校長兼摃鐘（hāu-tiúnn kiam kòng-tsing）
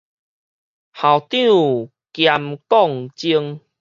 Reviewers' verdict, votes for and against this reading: accepted, 4, 0